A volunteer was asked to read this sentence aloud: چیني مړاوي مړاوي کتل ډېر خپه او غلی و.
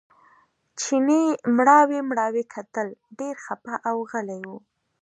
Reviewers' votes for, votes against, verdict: 2, 0, accepted